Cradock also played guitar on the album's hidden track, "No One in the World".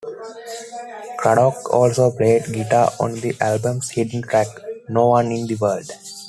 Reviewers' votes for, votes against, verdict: 1, 2, rejected